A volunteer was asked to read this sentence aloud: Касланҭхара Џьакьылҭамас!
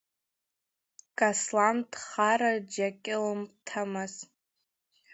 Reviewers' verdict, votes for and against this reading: rejected, 0, 2